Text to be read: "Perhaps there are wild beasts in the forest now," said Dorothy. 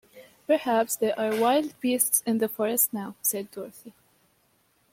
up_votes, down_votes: 2, 0